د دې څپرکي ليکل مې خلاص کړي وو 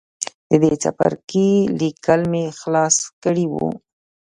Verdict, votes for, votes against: rejected, 1, 2